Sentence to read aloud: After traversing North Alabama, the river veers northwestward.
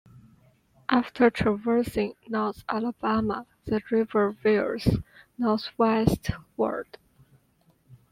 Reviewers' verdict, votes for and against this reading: accepted, 2, 0